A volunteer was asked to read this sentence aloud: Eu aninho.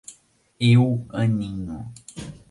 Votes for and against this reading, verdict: 2, 0, accepted